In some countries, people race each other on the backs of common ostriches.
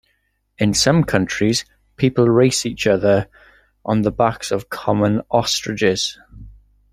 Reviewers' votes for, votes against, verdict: 2, 0, accepted